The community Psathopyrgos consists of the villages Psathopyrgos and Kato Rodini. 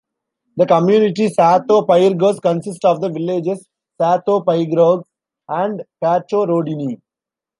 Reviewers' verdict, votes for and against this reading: rejected, 1, 3